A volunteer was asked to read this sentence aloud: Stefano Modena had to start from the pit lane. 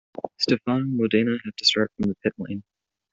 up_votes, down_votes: 0, 2